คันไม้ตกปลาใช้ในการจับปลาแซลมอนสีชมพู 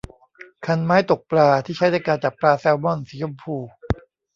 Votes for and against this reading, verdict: 1, 2, rejected